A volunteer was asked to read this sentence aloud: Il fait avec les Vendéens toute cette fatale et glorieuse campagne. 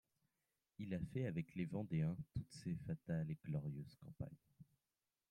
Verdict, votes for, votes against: accepted, 2, 1